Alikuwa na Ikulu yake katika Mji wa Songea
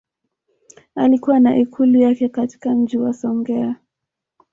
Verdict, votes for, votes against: rejected, 1, 2